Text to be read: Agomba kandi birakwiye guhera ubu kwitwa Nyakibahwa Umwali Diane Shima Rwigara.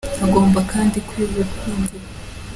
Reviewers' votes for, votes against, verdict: 0, 2, rejected